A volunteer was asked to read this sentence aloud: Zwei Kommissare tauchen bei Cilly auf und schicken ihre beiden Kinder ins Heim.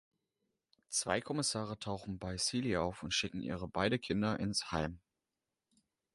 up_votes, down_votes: 1, 2